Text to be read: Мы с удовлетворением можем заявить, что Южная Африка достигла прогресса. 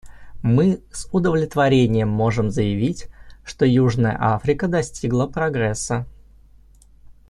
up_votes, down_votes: 2, 0